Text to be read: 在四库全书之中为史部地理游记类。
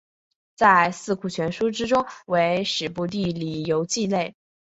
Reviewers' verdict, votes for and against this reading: accepted, 2, 0